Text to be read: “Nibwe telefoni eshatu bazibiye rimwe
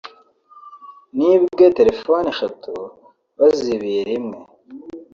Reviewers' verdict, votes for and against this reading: accepted, 2, 0